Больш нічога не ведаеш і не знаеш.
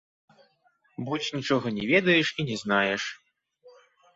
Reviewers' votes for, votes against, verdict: 2, 0, accepted